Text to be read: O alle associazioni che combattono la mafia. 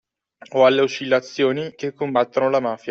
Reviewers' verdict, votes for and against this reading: rejected, 0, 2